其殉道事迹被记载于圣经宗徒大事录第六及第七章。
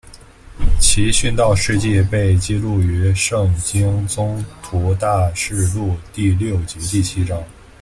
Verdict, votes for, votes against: accepted, 2, 1